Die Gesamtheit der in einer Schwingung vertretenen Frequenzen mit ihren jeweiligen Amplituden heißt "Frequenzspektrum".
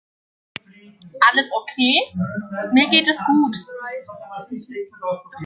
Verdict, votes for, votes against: rejected, 0, 2